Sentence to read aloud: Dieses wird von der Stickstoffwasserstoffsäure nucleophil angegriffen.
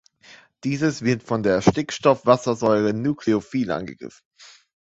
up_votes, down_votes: 1, 2